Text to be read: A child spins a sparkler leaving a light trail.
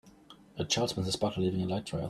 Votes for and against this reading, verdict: 1, 2, rejected